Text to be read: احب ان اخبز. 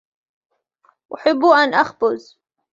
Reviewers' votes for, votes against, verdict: 2, 0, accepted